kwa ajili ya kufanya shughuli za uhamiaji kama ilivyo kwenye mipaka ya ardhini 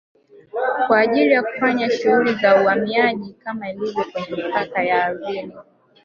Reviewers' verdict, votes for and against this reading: rejected, 1, 2